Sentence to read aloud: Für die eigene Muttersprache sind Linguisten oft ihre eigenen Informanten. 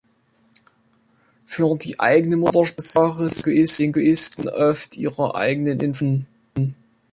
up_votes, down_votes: 0, 3